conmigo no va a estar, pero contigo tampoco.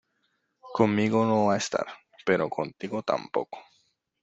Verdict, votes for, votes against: accepted, 2, 0